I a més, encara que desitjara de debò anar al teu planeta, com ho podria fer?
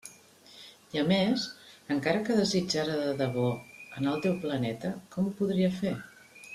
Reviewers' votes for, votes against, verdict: 2, 0, accepted